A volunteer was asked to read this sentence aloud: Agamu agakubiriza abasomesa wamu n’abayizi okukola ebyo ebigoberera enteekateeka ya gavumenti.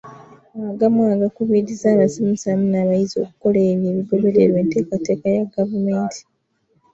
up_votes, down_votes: 1, 2